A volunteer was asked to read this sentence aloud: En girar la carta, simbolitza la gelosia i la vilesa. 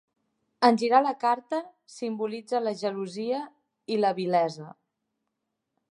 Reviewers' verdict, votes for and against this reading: accepted, 6, 0